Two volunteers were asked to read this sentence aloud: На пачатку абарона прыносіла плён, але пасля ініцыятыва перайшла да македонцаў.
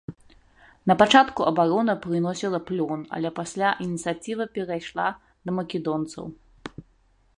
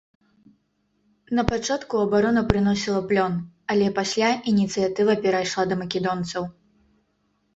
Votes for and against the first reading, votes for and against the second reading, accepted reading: 1, 2, 3, 0, second